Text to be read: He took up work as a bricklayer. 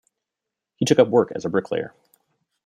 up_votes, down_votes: 0, 2